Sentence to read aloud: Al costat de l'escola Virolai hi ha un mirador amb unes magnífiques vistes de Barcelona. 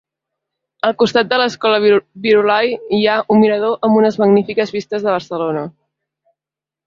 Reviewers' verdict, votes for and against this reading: rejected, 1, 2